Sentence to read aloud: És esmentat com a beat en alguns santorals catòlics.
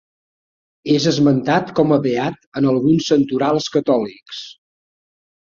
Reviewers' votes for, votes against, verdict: 2, 0, accepted